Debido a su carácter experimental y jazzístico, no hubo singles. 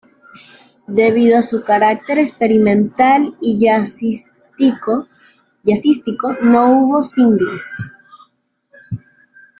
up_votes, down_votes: 1, 2